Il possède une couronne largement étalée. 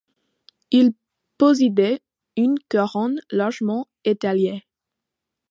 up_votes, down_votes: 1, 2